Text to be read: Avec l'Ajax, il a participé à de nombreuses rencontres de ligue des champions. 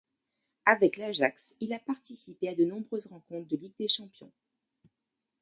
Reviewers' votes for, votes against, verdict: 2, 0, accepted